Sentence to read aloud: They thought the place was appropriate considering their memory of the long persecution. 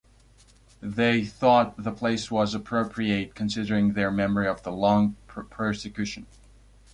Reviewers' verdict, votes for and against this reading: rejected, 0, 2